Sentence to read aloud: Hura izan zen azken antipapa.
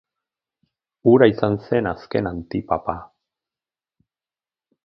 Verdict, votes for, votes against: accepted, 4, 0